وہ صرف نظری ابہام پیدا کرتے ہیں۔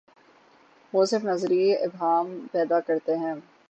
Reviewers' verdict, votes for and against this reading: accepted, 12, 0